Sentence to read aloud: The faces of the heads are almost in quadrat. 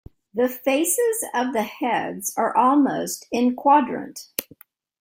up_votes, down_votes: 1, 2